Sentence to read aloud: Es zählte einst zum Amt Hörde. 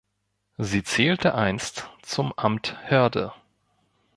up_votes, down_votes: 1, 2